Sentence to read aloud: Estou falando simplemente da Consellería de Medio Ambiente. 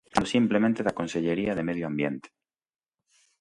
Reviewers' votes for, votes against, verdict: 0, 2, rejected